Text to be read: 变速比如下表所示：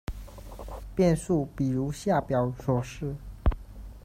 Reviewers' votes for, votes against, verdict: 2, 1, accepted